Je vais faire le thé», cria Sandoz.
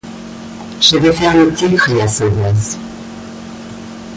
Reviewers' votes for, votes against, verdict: 0, 2, rejected